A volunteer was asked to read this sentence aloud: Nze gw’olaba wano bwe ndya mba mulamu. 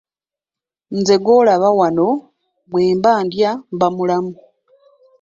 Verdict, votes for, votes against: rejected, 2, 3